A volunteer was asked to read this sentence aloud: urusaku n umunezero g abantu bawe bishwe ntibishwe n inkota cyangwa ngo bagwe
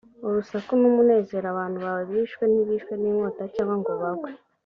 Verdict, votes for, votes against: accepted, 3, 0